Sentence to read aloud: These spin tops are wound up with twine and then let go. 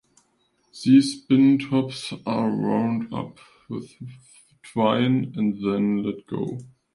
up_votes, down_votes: 2, 1